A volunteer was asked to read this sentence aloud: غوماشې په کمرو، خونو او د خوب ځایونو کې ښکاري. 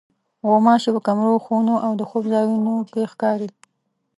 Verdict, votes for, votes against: accepted, 2, 0